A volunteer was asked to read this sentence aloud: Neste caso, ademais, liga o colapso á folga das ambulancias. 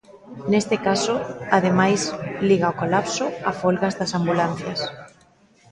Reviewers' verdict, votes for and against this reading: rejected, 0, 2